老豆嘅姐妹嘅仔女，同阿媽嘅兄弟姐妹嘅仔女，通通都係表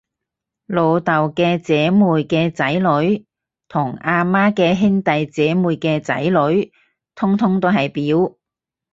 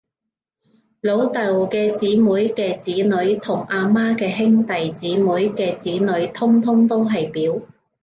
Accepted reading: first